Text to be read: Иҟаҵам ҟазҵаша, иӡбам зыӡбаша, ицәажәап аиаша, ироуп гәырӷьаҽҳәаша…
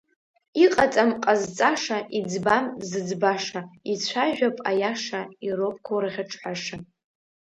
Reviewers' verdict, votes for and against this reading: accepted, 2, 0